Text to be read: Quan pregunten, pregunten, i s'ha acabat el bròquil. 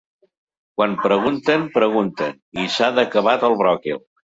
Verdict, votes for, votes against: rejected, 1, 2